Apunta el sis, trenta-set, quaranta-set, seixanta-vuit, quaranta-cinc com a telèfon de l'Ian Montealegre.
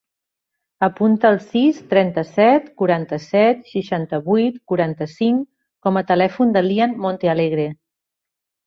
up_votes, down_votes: 2, 0